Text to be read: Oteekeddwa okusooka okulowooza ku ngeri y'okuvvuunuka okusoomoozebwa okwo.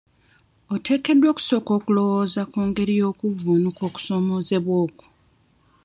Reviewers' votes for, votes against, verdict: 2, 0, accepted